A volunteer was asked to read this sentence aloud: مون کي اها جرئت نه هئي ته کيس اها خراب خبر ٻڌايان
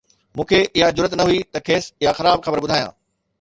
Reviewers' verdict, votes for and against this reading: accepted, 2, 0